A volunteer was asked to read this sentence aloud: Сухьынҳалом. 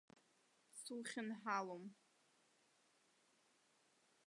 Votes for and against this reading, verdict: 1, 2, rejected